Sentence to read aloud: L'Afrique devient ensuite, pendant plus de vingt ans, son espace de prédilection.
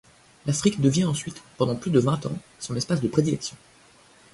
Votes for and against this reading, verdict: 0, 2, rejected